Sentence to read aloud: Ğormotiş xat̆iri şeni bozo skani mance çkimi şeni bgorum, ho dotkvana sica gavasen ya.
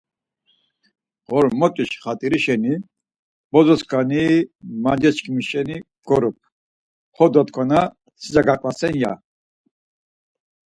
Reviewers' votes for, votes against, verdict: 4, 0, accepted